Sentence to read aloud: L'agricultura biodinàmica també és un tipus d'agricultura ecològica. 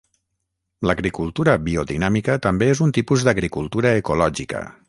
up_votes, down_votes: 6, 0